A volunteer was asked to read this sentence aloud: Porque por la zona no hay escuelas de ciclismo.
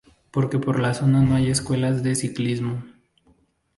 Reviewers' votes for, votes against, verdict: 2, 2, rejected